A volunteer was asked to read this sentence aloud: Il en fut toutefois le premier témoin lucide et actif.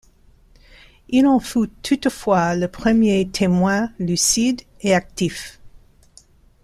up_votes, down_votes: 1, 2